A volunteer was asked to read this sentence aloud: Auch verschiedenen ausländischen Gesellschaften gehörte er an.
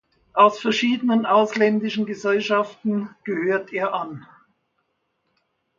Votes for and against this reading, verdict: 0, 2, rejected